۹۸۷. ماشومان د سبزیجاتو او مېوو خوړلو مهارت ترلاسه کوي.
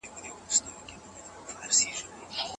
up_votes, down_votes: 0, 2